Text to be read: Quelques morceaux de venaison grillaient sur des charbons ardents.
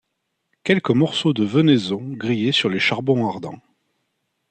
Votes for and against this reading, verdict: 0, 2, rejected